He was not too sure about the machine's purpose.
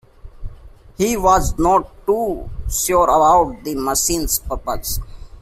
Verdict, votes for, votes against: accepted, 2, 0